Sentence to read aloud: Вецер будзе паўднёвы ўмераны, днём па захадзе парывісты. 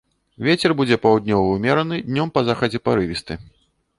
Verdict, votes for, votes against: accepted, 2, 0